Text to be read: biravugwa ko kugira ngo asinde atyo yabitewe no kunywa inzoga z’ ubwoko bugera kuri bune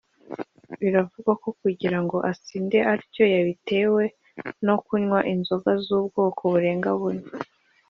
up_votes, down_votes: 1, 2